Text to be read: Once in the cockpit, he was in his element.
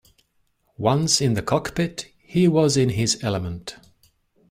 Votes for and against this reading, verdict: 2, 0, accepted